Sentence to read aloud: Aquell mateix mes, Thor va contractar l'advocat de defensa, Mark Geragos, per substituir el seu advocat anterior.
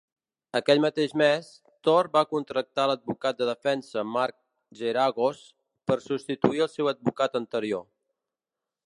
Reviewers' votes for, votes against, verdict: 1, 2, rejected